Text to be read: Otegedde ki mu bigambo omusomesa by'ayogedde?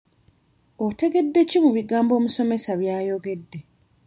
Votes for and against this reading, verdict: 2, 0, accepted